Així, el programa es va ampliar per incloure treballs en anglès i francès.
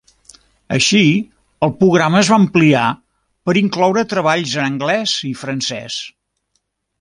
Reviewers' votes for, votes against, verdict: 0, 2, rejected